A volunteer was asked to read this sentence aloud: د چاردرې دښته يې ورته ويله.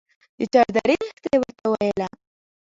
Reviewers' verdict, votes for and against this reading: rejected, 1, 2